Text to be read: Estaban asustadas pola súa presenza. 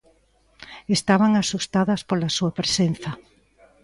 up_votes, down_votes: 2, 0